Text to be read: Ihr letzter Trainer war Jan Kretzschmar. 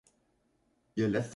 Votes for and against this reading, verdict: 0, 2, rejected